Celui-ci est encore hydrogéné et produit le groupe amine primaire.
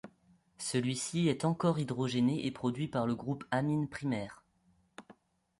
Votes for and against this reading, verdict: 0, 2, rejected